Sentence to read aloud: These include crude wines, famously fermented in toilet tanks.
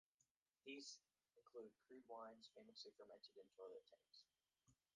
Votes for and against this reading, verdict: 0, 2, rejected